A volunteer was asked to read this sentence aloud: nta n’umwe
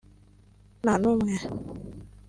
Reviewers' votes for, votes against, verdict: 2, 0, accepted